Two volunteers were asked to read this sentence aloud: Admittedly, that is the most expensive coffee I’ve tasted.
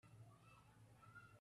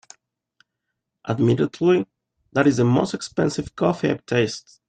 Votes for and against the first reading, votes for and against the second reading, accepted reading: 0, 2, 3, 0, second